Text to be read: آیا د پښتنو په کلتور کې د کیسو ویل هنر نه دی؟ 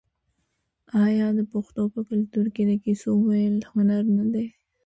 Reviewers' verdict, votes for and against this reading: accepted, 2, 0